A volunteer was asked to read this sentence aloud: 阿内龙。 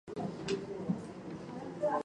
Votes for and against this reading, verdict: 1, 3, rejected